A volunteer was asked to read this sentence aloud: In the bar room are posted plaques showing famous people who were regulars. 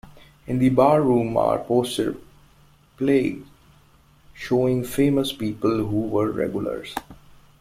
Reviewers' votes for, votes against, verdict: 1, 2, rejected